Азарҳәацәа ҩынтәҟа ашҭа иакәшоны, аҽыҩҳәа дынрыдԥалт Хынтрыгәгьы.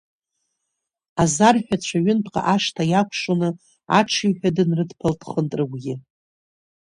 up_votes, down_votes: 1, 2